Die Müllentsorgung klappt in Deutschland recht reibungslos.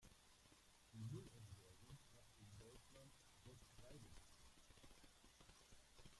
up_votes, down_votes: 0, 2